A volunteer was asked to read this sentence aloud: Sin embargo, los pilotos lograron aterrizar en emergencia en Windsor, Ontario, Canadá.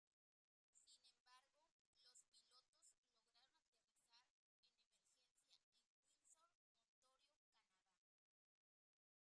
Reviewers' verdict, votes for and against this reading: rejected, 0, 2